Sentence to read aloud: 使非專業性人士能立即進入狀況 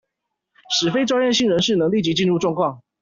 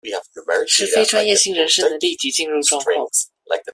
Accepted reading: first